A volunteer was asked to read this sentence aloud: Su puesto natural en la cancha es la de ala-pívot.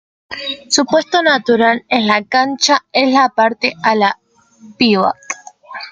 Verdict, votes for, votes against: rejected, 0, 2